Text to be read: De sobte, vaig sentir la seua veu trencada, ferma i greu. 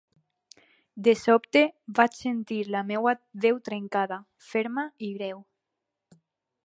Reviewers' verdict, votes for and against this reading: rejected, 0, 4